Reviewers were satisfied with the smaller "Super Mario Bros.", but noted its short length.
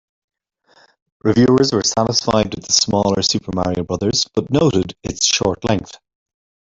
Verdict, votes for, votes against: rejected, 1, 2